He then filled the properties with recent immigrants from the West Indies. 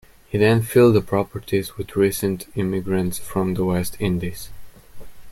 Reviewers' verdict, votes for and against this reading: accepted, 2, 1